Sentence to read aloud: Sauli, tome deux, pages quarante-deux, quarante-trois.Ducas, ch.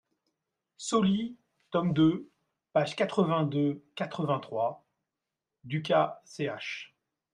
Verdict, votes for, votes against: rejected, 0, 2